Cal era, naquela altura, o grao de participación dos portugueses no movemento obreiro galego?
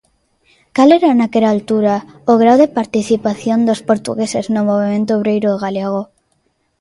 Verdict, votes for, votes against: accepted, 2, 0